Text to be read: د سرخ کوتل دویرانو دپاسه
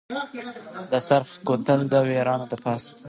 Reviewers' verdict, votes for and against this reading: rejected, 0, 2